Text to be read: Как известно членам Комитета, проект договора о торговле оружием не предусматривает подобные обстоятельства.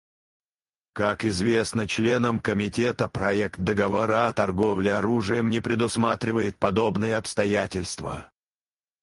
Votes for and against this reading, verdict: 2, 4, rejected